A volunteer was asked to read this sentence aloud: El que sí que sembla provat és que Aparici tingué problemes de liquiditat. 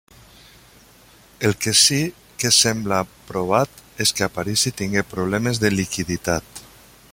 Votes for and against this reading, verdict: 2, 0, accepted